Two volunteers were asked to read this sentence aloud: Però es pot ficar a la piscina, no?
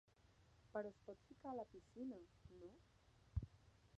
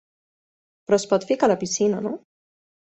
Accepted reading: second